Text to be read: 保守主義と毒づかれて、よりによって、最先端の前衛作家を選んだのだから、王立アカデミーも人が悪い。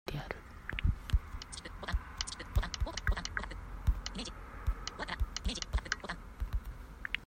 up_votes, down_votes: 0, 2